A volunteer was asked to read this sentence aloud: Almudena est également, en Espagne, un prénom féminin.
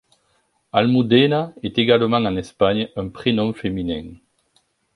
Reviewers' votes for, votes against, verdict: 2, 0, accepted